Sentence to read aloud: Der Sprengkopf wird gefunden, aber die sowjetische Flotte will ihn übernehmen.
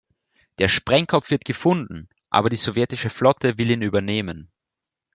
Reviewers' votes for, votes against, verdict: 2, 0, accepted